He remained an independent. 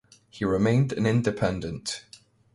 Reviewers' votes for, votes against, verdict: 2, 0, accepted